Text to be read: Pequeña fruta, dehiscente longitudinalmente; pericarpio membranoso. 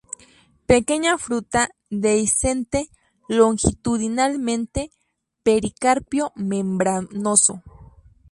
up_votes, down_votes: 2, 0